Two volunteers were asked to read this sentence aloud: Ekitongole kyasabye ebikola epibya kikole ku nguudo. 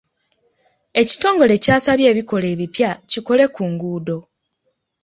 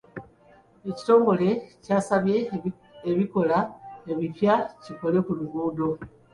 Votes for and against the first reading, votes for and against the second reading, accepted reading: 2, 0, 1, 2, first